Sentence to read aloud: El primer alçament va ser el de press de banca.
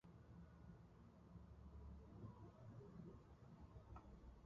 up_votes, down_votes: 0, 2